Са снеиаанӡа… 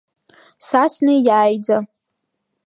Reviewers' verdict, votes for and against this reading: accepted, 2, 1